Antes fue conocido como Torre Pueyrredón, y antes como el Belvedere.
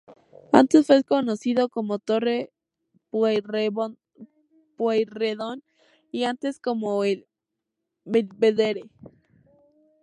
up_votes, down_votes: 0, 2